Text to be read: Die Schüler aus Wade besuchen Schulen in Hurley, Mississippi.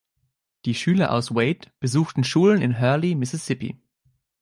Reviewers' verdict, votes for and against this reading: rejected, 1, 2